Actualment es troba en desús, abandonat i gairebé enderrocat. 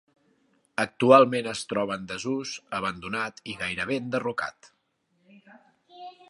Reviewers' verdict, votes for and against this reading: accepted, 3, 0